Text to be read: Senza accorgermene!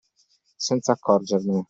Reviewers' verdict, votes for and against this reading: accepted, 2, 0